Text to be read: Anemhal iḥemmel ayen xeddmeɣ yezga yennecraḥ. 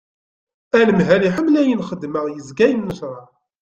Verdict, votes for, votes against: accepted, 2, 0